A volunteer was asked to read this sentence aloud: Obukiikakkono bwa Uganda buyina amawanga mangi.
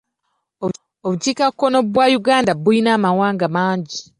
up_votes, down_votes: 2, 0